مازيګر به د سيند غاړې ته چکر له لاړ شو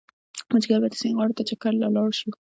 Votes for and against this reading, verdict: 2, 0, accepted